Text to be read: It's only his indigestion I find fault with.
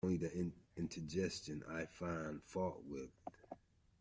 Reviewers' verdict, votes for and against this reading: rejected, 0, 2